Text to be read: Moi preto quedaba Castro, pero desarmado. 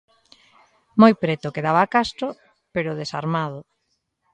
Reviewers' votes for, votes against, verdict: 2, 0, accepted